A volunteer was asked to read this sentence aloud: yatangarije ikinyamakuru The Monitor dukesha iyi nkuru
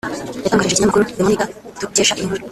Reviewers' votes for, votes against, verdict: 1, 3, rejected